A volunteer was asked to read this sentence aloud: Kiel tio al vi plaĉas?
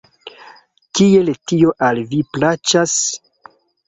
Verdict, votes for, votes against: accepted, 2, 0